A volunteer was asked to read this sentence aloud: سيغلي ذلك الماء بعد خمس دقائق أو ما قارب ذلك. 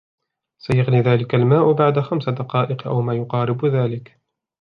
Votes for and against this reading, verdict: 2, 0, accepted